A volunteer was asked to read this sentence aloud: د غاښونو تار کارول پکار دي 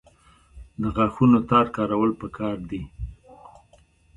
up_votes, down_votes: 2, 0